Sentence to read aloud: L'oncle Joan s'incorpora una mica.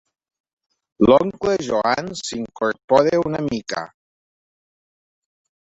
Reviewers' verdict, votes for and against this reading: accepted, 2, 0